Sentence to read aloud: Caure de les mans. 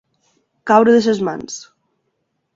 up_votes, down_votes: 1, 2